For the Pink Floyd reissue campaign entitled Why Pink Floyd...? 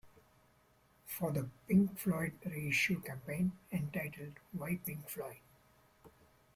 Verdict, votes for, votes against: accepted, 2, 0